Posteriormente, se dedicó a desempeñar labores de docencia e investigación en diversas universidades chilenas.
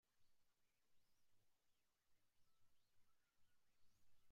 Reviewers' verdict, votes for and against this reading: rejected, 0, 2